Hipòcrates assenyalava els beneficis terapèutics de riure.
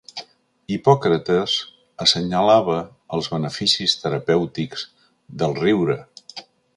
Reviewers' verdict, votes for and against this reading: rejected, 1, 2